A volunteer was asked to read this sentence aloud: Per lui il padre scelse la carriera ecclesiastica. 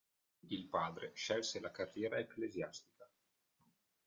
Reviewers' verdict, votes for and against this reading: rejected, 0, 2